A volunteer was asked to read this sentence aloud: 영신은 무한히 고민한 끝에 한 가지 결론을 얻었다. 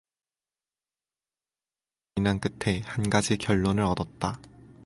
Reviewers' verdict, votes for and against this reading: rejected, 0, 4